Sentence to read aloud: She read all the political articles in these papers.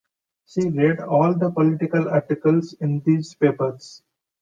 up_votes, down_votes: 2, 0